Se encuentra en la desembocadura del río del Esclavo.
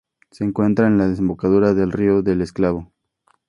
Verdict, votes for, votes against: accepted, 2, 0